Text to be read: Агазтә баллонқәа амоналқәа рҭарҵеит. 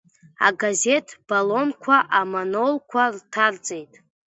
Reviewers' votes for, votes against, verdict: 1, 2, rejected